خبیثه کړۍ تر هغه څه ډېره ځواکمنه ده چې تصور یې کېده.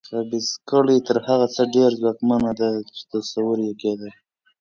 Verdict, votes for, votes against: accepted, 2, 0